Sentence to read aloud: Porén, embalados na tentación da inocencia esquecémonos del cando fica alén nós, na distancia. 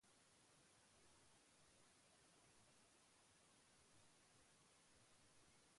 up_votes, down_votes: 0, 2